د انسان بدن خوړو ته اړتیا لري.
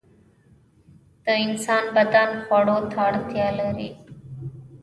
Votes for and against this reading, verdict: 0, 2, rejected